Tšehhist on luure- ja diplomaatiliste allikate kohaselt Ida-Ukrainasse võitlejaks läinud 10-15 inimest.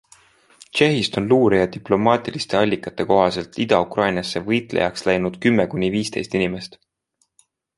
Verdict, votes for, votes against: rejected, 0, 2